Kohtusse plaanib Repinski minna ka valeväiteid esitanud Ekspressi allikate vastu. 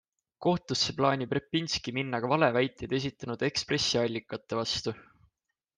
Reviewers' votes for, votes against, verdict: 2, 0, accepted